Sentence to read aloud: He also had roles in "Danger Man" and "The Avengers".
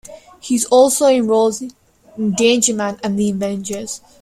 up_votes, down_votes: 1, 2